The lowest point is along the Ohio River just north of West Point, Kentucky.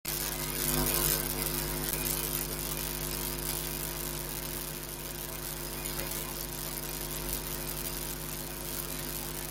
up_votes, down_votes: 0, 2